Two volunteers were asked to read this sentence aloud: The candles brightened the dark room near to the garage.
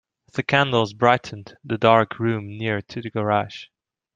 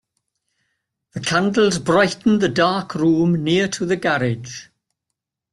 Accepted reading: first